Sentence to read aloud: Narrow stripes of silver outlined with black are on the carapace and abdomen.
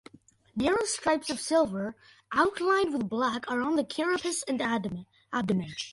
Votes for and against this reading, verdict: 0, 2, rejected